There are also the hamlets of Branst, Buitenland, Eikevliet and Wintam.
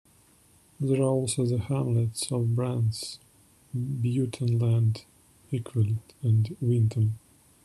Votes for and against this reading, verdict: 0, 2, rejected